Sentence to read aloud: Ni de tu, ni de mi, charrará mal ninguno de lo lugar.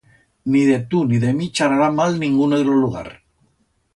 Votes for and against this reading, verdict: 2, 0, accepted